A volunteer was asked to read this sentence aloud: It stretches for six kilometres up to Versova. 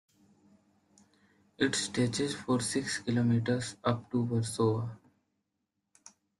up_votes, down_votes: 2, 0